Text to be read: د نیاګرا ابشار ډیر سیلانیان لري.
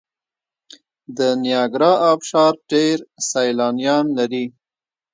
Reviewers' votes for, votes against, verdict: 0, 2, rejected